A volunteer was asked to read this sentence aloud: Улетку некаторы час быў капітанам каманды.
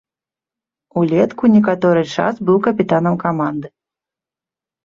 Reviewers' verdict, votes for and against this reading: accepted, 2, 1